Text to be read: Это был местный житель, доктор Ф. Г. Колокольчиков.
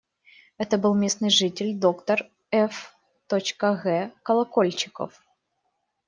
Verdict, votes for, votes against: rejected, 1, 2